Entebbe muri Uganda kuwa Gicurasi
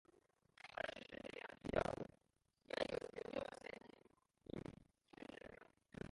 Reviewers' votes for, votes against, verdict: 0, 2, rejected